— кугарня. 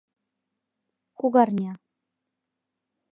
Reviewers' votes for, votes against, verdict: 2, 0, accepted